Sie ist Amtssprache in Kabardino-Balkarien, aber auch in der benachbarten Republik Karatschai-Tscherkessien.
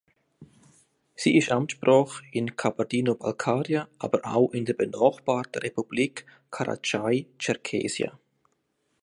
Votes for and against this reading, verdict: 0, 2, rejected